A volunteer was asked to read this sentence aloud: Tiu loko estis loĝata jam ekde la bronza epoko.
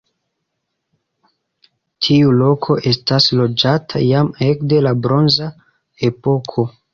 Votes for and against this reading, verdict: 0, 2, rejected